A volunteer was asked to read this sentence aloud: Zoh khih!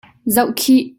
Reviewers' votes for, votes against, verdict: 2, 0, accepted